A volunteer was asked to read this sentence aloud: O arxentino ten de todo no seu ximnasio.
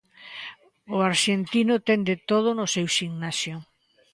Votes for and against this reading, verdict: 2, 0, accepted